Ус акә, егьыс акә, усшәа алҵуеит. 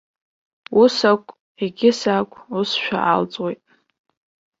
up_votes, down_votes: 0, 2